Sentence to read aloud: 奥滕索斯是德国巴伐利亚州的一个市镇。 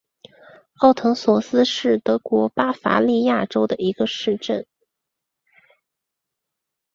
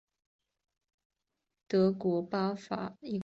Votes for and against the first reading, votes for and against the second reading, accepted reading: 3, 0, 1, 3, first